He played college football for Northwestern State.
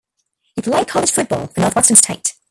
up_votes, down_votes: 0, 2